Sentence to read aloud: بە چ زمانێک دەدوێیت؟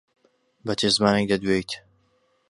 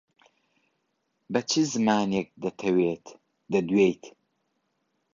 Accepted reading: first